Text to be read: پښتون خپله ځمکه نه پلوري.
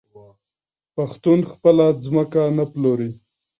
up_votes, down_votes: 2, 0